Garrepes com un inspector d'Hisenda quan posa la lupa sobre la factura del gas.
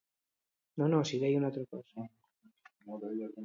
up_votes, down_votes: 0, 2